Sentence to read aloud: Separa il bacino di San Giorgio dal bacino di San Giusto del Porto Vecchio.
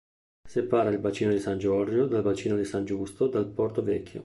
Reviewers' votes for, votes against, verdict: 0, 2, rejected